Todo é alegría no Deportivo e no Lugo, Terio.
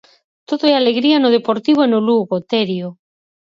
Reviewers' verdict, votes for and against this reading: accepted, 4, 0